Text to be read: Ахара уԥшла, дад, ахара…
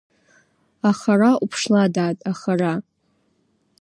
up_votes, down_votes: 2, 0